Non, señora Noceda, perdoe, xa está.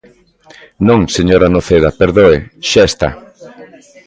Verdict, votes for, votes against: accepted, 2, 0